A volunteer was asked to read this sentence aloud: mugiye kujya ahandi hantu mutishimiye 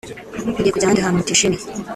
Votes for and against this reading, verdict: 0, 2, rejected